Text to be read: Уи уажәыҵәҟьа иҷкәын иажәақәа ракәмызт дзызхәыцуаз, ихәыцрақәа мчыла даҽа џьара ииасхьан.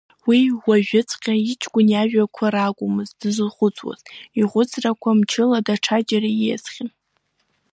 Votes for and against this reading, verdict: 2, 0, accepted